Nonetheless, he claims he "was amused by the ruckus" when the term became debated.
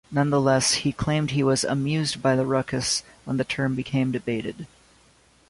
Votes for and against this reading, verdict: 1, 2, rejected